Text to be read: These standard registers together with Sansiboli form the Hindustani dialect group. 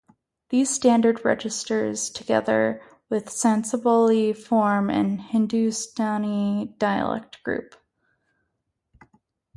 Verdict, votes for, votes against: rejected, 2, 2